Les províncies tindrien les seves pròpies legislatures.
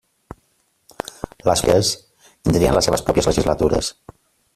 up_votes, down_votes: 0, 2